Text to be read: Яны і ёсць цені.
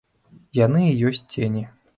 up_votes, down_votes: 2, 0